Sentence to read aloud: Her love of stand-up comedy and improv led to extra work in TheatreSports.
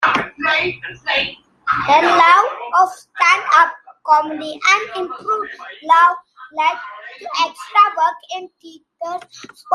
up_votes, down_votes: 1, 2